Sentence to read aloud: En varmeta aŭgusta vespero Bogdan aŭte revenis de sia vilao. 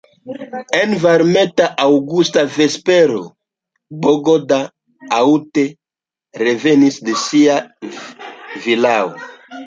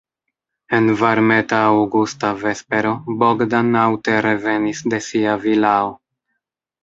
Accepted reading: second